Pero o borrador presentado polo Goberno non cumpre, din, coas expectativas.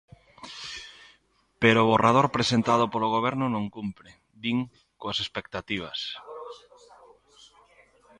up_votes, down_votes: 0, 2